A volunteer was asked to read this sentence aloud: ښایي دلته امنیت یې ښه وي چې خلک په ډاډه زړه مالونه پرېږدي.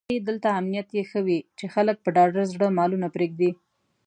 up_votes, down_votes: 1, 2